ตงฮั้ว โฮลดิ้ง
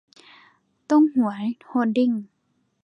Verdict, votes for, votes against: rejected, 0, 2